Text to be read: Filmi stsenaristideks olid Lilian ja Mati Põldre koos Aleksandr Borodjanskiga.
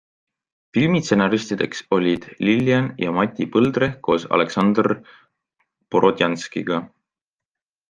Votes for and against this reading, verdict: 2, 0, accepted